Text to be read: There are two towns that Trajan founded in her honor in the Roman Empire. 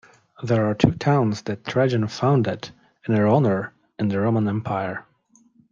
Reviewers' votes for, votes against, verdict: 2, 0, accepted